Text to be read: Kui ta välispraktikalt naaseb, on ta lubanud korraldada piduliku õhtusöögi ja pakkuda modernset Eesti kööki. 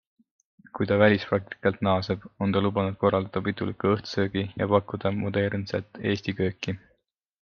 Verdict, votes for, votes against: accepted, 2, 0